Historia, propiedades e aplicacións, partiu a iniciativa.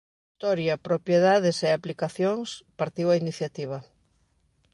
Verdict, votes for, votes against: rejected, 0, 2